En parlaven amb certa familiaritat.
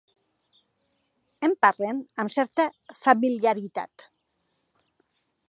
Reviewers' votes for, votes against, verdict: 1, 2, rejected